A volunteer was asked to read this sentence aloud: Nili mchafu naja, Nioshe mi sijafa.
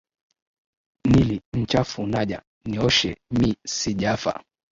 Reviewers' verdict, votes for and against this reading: rejected, 3, 4